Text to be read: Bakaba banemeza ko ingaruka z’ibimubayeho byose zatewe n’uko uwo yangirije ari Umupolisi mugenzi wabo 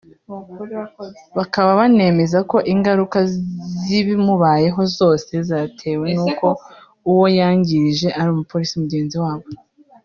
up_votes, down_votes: 0, 2